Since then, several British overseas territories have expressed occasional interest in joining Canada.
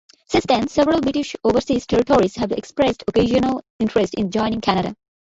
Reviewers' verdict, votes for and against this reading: rejected, 0, 2